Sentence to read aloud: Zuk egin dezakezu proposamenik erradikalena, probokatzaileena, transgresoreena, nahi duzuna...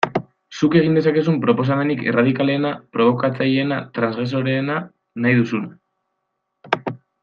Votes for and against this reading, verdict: 2, 0, accepted